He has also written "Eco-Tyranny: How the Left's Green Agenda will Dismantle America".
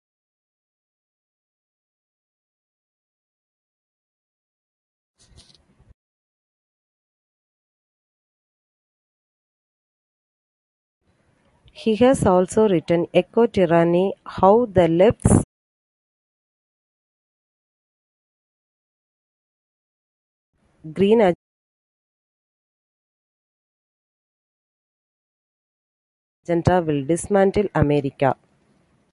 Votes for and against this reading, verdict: 1, 2, rejected